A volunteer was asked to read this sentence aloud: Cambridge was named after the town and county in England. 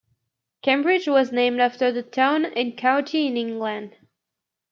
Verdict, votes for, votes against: accepted, 2, 0